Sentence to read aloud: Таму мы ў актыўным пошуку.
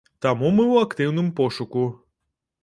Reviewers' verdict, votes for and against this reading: accepted, 2, 0